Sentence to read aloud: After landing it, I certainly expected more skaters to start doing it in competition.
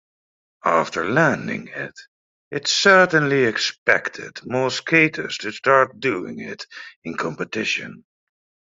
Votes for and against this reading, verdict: 0, 2, rejected